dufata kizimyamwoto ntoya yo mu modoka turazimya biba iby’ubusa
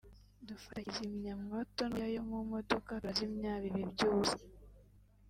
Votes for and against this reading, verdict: 1, 2, rejected